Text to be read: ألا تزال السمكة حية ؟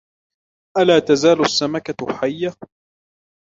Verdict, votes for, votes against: accepted, 2, 0